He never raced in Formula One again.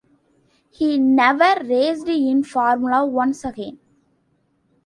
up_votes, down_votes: 0, 2